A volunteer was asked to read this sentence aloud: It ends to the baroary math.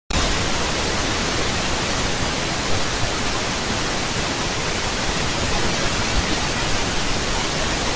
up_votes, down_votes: 0, 2